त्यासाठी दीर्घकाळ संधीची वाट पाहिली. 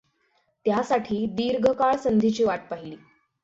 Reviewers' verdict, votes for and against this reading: accepted, 6, 0